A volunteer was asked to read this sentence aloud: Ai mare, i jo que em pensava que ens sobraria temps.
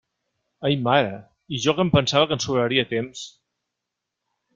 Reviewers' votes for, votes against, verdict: 3, 0, accepted